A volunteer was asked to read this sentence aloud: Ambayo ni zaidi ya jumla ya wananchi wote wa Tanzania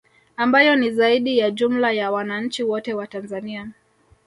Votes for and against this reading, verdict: 3, 0, accepted